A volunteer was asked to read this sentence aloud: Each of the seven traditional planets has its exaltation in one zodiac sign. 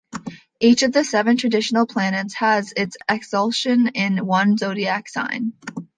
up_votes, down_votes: 0, 2